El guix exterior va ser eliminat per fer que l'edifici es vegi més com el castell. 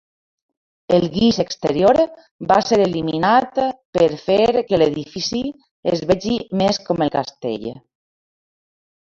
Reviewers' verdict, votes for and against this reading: rejected, 1, 2